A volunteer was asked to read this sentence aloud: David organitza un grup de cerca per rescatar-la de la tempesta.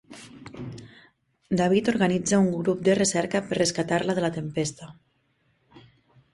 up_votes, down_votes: 0, 3